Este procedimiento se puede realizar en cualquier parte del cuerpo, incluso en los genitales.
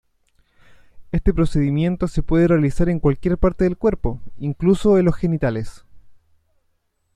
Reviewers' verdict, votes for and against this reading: rejected, 1, 2